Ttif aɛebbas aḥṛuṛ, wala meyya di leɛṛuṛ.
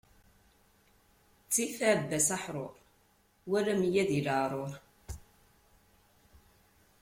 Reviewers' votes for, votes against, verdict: 2, 0, accepted